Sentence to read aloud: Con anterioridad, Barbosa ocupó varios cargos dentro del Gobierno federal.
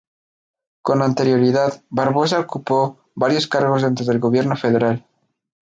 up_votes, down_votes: 2, 0